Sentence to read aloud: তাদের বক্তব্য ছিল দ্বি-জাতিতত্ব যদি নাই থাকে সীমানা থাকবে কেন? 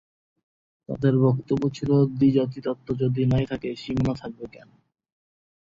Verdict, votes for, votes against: rejected, 2, 2